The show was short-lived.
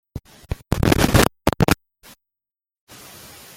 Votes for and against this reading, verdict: 0, 2, rejected